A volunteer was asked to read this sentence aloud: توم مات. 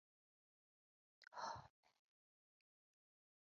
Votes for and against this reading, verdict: 0, 2, rejected